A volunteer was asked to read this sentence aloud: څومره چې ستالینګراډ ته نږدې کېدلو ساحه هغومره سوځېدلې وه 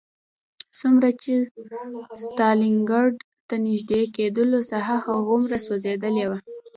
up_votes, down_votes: 1, 2